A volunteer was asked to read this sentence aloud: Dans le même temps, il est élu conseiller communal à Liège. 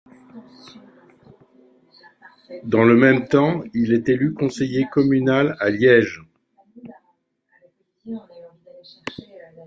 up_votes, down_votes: 2, 3